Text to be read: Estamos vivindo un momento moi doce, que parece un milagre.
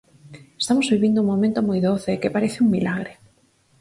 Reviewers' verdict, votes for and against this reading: accepted, 6, 0